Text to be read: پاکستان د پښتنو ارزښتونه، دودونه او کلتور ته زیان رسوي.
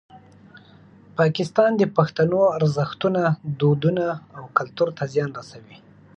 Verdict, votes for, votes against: accepted, 6, 0